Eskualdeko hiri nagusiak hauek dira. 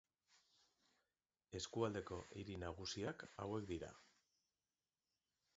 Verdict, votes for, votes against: accepted, 4, 0